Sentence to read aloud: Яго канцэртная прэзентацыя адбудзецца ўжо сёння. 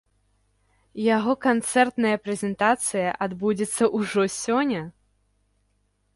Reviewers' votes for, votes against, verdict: 0, 2, rejected